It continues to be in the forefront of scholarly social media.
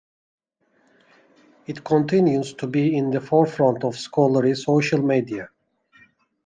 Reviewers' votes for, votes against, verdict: 2, 1, accepted